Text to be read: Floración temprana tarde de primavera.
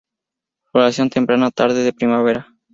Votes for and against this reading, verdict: 0, 2, rejected